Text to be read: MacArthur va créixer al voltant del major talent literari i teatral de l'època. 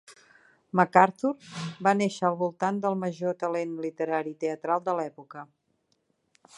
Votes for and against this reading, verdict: 1, 2, rejected